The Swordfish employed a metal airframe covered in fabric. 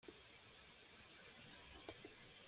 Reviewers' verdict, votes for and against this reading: rejected, 1, 2